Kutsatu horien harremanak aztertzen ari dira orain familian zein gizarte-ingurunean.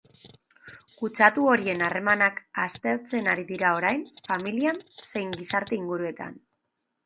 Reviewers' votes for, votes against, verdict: 1, 2, rejected